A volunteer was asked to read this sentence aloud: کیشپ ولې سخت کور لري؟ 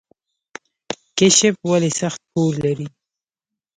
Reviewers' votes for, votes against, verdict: 0, 2, rejected